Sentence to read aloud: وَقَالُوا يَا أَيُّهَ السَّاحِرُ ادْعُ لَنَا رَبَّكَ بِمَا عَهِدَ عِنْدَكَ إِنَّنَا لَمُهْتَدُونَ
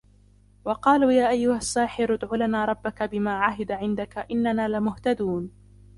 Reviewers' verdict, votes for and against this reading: rejected, 1, 2